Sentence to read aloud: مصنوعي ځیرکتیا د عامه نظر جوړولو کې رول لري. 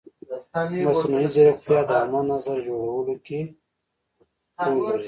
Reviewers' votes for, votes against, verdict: 2, 3, rejected